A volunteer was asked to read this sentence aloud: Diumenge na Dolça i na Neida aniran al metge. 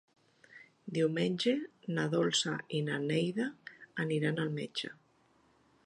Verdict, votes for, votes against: accepted, 3, 0